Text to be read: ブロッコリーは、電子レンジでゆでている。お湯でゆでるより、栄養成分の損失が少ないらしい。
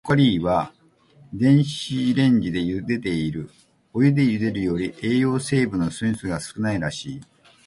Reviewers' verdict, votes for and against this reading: rejected, 0, 2